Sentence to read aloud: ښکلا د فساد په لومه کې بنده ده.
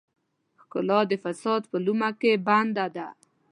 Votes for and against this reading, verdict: 2, 0, accepted